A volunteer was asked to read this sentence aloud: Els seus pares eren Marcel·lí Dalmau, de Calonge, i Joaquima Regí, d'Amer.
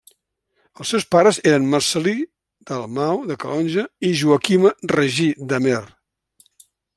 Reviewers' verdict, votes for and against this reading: accepted, 2, 0